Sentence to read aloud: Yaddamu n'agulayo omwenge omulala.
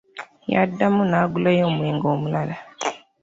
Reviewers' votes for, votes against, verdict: 2, 0, accepted